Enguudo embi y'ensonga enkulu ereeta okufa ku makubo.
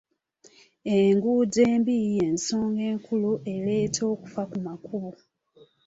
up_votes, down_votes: 2, 0